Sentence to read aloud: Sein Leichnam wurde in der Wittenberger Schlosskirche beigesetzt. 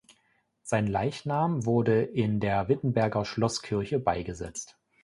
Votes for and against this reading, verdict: 2, 0, accepted